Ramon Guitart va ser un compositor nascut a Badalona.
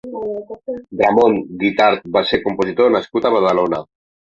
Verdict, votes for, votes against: rejected, 1, 2